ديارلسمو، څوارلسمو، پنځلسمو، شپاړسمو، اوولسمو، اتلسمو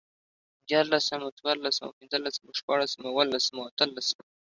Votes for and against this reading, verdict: 2, 0, accepted